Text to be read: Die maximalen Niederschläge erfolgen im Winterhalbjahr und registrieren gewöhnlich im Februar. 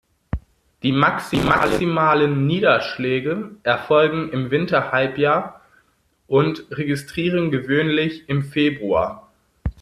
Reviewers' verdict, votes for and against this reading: rejected, 0, 2